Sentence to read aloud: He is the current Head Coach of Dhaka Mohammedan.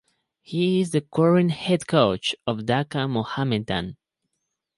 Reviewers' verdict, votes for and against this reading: accepted, 4, 0